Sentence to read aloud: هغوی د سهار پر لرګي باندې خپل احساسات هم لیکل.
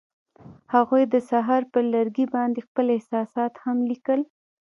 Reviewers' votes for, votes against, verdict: 2, 0, accepted